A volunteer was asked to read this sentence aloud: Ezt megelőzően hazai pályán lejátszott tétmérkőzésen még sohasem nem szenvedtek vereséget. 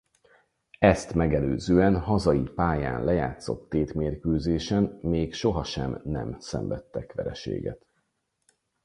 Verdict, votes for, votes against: rejected, 2, 4